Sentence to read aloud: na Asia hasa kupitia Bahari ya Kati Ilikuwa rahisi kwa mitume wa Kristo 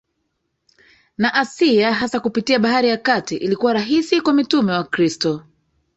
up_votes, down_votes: 0, 2